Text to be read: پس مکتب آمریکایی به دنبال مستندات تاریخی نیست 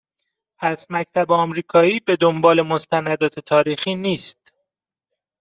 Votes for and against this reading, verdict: 2, 0, accepted